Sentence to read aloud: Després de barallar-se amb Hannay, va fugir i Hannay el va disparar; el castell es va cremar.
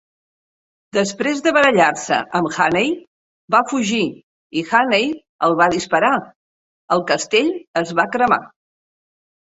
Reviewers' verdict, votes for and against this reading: accepted, 4, 0